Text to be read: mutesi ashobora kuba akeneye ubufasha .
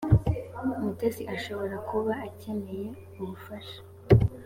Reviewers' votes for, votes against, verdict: 2, 0, accepted